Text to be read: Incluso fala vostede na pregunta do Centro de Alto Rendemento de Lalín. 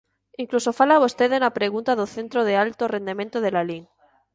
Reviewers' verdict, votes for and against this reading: accepted, 2, 0